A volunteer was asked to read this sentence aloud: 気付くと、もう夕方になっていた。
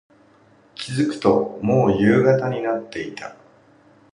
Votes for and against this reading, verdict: 2, 0, accepted